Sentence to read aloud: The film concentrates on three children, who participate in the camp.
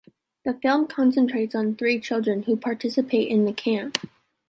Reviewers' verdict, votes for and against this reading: accepted, 2, 0